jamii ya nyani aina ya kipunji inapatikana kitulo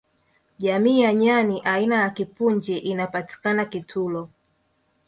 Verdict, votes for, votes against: rejected, 1, 2